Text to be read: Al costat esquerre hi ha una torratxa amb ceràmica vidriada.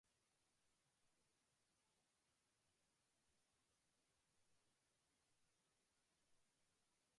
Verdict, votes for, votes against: rejected, 0, 2